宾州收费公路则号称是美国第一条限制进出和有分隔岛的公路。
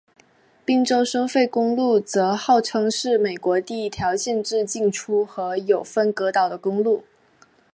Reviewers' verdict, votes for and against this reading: accepted, 2, 0